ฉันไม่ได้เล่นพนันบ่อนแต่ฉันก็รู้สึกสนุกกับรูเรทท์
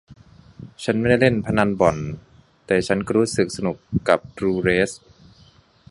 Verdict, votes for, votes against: rejected, 1, 2